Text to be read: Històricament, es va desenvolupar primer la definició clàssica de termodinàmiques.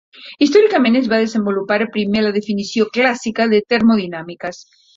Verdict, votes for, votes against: rejected, 0, 2